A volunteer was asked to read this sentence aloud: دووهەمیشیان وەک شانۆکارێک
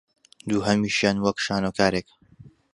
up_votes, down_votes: 2, 0